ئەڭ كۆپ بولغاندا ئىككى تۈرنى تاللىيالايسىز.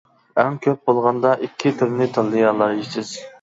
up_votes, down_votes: 1, 2